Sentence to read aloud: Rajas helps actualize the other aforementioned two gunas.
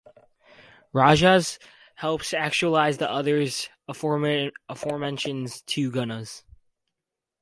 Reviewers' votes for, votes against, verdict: 0, 4, rejected